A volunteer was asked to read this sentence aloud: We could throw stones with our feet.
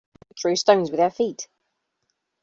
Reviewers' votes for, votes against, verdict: 0, 2, rejected